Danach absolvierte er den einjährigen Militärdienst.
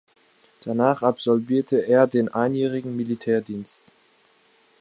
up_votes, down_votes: 2, 0